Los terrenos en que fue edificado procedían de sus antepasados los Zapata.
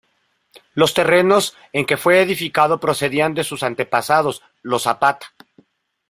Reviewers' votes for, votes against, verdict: 1, 2, rejected